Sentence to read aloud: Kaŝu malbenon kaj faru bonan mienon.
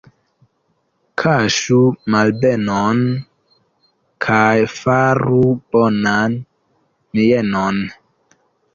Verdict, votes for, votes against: accepted, 2, 0